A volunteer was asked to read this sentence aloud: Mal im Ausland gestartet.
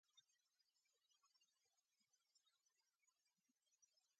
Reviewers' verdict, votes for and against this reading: rejected, 0, 2